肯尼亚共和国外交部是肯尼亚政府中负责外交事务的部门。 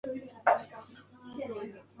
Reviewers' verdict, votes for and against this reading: rejected, 0, 6